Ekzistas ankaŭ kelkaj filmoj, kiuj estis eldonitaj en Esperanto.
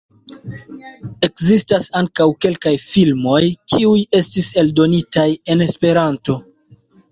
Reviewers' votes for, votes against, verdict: 1, 2, rejected